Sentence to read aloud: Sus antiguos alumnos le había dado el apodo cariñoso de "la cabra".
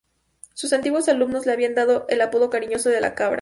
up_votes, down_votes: 2, 0